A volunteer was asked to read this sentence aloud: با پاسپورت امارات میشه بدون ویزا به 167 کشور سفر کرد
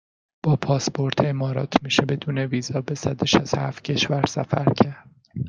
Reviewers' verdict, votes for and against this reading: rejected, 0, 2